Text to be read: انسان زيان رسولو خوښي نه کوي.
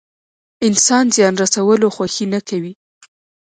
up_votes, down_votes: 0, 2